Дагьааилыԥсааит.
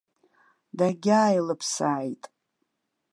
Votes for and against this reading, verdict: 2, 0, accepted